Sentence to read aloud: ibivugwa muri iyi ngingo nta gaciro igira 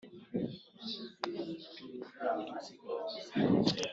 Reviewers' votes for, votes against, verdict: 0, 2, rejected